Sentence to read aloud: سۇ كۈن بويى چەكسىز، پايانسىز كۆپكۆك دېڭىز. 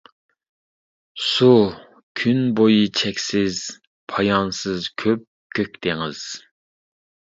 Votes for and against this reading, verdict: 2, 0, accepted